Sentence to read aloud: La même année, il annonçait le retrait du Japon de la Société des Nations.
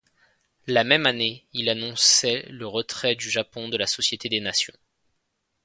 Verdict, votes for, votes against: accepted, 2, 0